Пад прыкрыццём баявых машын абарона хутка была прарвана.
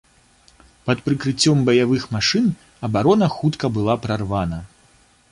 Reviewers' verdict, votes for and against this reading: accepted, 2, 1